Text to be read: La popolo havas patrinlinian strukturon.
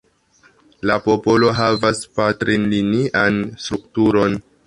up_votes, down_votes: 2, 0